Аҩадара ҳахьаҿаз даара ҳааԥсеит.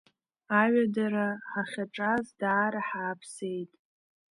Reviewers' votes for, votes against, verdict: 2, 0, accepted